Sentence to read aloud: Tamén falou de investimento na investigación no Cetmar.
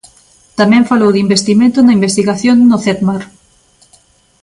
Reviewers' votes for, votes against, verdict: 2, 0, accepted